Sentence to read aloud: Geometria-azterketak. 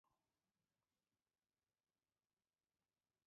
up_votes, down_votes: 0, 2